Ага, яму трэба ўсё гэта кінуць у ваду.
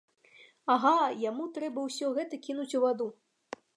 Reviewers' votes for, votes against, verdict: 2, 0, accepted